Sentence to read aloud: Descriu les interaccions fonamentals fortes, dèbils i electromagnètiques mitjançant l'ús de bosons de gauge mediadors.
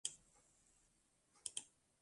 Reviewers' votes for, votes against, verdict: 0, 2, rejected